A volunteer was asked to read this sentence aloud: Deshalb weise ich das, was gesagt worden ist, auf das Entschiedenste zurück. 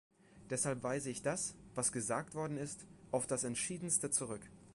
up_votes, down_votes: 2, 0